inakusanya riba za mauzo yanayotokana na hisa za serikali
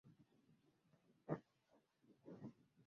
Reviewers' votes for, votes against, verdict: 0, 2, rejected